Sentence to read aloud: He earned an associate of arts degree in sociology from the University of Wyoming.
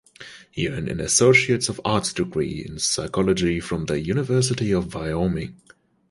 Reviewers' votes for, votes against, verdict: 1, 2, rejected